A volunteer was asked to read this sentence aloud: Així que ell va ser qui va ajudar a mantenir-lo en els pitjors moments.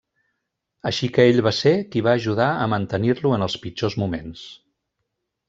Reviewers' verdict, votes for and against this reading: rejected, 0, 2